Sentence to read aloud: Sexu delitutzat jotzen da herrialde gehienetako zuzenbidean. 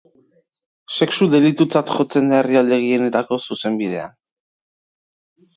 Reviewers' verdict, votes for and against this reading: rejected, 3, 4